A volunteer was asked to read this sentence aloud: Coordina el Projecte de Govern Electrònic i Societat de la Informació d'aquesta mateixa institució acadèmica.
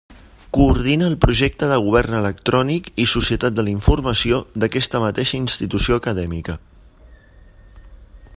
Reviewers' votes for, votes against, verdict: 3, 0, accepted